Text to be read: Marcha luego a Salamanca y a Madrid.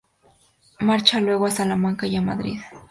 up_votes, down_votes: 0, 2